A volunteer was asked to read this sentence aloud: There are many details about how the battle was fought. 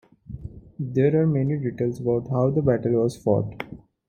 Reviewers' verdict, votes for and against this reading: accepted, 2, 1